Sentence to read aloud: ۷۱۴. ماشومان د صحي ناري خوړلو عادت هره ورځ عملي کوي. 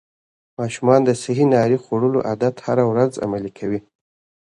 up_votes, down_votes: 0, 2